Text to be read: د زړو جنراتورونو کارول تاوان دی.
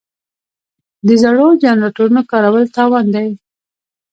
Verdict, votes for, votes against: rejected, 1, 2